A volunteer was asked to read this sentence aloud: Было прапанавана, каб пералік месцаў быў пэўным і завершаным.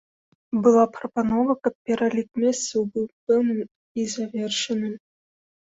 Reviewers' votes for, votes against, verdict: 1, 2, rejected